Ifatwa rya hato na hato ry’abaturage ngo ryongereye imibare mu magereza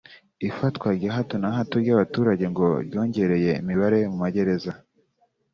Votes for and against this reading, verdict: 2, 0, accepted